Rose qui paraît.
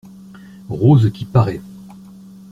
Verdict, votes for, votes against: accepted, 2, 0